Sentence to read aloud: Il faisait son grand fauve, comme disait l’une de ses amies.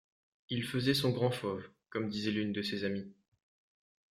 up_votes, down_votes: 2, 0